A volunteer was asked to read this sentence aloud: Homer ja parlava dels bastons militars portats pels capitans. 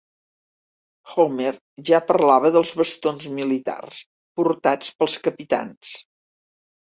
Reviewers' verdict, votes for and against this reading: rejected, 1, 2